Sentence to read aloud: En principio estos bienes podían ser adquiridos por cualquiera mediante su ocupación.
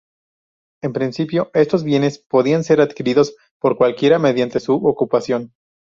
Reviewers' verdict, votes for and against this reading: accepted, 2, 0